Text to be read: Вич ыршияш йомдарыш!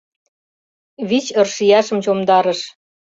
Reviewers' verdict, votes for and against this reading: rejected, 1, 2